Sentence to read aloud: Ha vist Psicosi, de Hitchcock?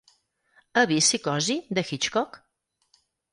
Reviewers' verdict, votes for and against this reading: accepted, 4, 0